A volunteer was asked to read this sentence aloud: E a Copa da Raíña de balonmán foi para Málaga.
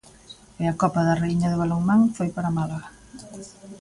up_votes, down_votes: 2, 1